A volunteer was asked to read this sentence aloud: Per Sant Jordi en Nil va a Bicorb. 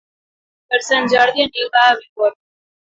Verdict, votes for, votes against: rejected, 1, 2